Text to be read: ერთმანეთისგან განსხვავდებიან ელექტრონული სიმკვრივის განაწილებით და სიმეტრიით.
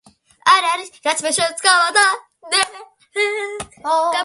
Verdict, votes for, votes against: rejected, 0, 2